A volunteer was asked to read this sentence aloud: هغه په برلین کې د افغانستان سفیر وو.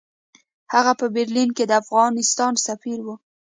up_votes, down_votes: 2, 0